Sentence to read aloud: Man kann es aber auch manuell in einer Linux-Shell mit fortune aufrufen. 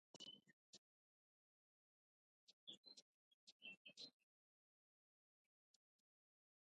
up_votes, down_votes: 0, 2